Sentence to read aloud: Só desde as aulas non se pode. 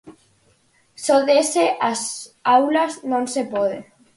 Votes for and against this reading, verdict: 0, 4, rejected